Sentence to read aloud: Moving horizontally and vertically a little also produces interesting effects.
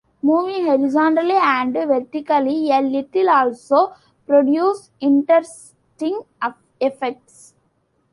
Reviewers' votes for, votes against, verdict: 2, 0, accepted